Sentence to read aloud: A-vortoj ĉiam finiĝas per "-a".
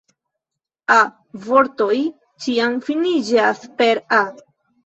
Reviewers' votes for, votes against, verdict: 1, 2, rejected